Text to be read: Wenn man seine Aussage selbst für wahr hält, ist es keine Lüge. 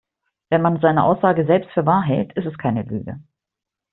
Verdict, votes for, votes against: accepted, 2, 1